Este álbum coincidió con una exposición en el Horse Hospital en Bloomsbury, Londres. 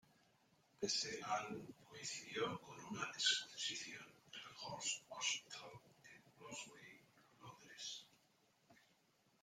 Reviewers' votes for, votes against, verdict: 0, 2, rejected